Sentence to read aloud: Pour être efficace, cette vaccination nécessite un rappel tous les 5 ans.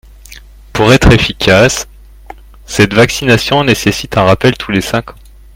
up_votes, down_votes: 0, 2